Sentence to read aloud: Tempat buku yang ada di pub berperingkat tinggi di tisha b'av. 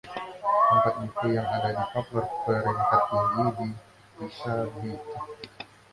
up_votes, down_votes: 1, 2